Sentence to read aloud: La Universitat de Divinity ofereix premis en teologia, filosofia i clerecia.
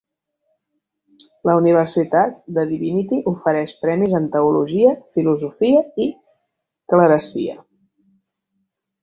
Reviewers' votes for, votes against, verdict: 2, 1, accepted